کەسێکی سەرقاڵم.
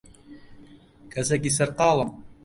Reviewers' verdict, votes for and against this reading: accepted, 2, 0